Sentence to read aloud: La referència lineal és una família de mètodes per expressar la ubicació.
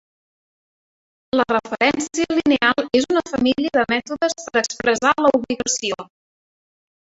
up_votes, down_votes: 0, 3